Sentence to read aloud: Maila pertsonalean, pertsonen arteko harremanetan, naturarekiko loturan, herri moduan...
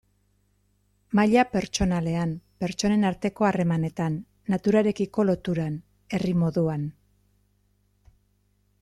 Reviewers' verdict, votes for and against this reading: accepted, 2, 0